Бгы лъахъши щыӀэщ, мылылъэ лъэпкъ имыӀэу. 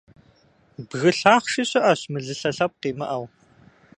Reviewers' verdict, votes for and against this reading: accepted, 2, 0